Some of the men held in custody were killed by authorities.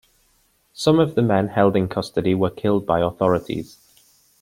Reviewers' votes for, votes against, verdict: 2, 0, accepted